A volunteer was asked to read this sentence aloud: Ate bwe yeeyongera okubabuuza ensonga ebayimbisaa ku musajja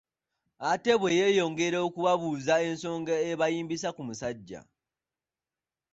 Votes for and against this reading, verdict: 2, 0, accepted